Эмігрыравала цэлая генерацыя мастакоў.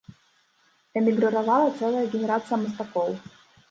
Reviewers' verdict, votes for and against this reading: rejected, 1, 2